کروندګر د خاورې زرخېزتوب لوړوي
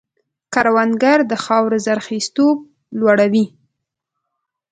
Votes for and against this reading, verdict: 2, 0, accepted